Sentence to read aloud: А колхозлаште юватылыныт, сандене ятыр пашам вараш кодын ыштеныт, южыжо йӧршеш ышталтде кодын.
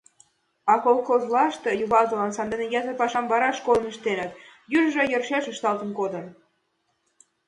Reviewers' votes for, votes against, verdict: 1, 2, rejected